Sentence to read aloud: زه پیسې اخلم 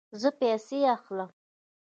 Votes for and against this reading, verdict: 2, 0, accepted